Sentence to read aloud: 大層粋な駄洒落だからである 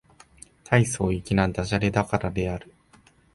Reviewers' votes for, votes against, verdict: 2, 0, accepted